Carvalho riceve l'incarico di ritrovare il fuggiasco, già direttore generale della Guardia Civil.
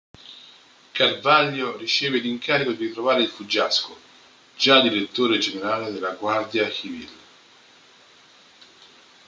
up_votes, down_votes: 0, 2